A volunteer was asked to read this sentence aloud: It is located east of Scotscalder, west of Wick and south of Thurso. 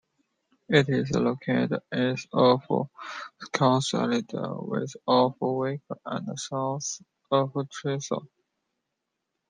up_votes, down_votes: 1, 2